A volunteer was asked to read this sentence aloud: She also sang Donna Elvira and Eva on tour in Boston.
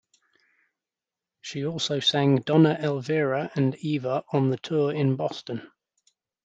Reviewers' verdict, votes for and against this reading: rejected, 0, 2